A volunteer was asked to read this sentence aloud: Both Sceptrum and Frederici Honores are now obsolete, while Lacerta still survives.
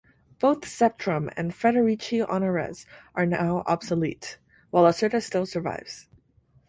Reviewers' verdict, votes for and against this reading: rejected, 0, 2